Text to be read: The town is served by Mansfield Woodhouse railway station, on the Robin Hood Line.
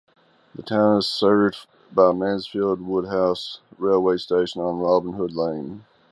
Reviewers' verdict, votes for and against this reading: accepted, 2, 0